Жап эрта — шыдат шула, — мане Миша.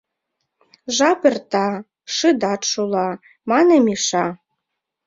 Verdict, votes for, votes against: accepted, 2, 1